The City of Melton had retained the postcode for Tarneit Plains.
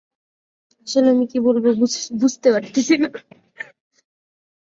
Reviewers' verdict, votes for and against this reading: rejected, 0, 2